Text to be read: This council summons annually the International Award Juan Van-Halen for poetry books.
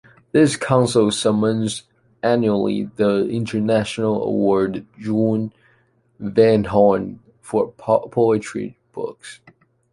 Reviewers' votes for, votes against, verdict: 0, 2, rejected